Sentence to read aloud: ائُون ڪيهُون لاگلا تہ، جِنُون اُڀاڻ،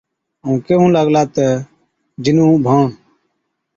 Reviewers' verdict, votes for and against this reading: accepted, 2, 0